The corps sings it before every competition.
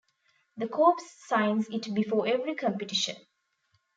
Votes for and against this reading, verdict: 0, 2, rejected